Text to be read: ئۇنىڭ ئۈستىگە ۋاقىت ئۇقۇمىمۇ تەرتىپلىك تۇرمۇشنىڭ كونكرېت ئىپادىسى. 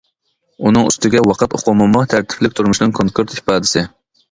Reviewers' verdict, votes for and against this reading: accepted, 2, 0